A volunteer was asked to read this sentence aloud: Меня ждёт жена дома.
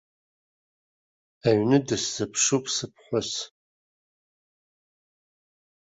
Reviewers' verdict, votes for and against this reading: rejected, 0, 2